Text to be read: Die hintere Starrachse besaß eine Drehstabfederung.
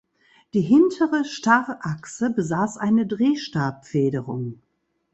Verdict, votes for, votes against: accepted, 2, 0